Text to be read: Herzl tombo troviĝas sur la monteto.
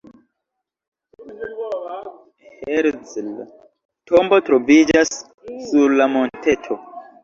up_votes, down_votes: 0, 2